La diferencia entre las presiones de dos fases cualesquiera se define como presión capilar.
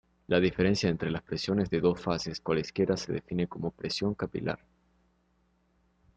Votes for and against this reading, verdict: 2, 0, accepted